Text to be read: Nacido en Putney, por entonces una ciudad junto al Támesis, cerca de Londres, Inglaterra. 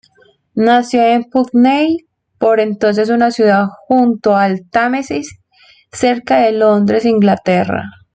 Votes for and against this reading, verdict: 1, 2, rejected